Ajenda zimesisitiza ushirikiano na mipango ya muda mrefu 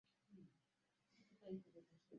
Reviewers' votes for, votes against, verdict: 0, 2, rejected